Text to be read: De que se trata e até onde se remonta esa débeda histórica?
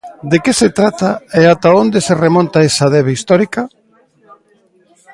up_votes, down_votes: 1, 2